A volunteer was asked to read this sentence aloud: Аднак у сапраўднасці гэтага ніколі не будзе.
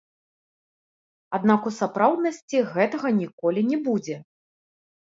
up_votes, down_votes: 2, 1